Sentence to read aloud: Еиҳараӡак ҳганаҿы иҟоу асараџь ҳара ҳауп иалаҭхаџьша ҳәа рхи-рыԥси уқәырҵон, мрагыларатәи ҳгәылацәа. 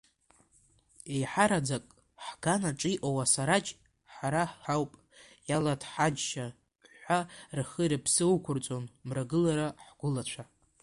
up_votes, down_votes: 0, 2